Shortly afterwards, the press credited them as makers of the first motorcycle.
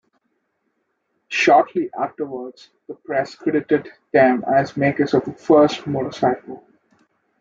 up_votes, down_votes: 2, 1